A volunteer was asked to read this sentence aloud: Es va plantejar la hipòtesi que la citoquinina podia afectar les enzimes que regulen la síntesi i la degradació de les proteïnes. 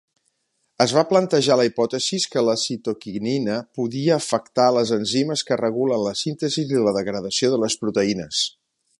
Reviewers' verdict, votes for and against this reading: accepted, 5, 4